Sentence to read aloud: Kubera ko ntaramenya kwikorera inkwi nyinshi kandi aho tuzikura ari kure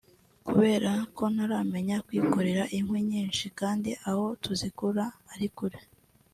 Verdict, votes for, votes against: accepted, 3, 2